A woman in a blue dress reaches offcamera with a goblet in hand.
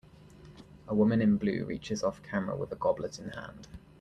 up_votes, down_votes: 1, 2